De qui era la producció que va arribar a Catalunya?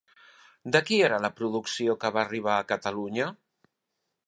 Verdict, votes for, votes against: accepted, 3, 1